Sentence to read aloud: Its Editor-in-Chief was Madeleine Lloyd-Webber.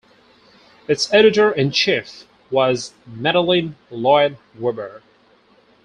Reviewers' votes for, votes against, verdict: 2, 2, rejected